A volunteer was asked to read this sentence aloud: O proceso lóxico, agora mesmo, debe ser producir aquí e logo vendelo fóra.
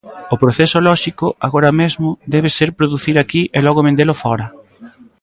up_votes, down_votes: 2, 0